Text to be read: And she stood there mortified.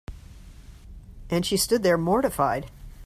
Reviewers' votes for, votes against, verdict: 2, 0, accepted